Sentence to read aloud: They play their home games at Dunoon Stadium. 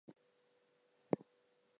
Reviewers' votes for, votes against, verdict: 0, 2, rejected